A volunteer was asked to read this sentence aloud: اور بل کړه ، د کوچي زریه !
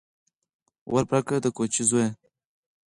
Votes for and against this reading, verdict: 2, 4, rejected